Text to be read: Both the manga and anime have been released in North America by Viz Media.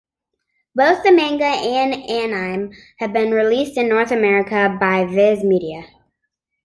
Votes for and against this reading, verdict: 1, 2, rejected